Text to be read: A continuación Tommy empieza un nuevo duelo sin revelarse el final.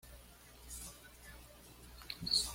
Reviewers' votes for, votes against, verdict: 1, 2, rejected